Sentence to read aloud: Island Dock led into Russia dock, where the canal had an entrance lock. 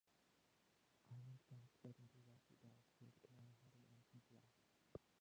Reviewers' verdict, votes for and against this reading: rejected, 0, 2